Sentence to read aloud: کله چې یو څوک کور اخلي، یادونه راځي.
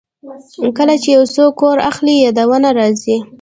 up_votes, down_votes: 1, 2